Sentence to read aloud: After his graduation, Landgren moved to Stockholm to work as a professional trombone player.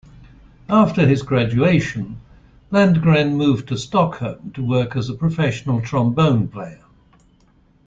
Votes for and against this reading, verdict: 3, 0, accepted